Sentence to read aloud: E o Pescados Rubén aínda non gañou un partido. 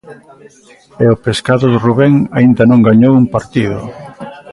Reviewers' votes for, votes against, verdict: 2, 1, accepted